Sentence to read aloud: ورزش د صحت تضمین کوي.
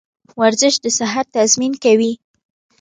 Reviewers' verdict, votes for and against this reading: accepted, 2, 0